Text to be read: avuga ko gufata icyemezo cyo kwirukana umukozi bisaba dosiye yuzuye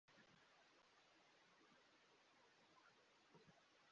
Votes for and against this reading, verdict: 0, 2, rejected